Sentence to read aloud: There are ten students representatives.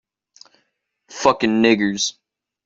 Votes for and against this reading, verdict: 0, 2, rejected